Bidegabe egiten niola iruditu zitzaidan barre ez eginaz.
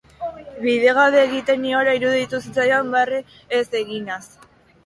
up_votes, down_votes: 3, 1